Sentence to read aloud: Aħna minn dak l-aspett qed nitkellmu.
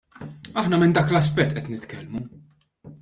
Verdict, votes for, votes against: accepted, 2, 0